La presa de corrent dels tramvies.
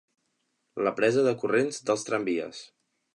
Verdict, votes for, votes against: rejected, 1, 2